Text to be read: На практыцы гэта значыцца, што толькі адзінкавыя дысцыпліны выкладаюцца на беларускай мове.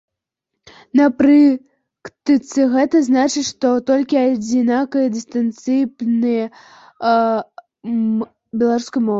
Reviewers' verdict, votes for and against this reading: rejected, 0, 2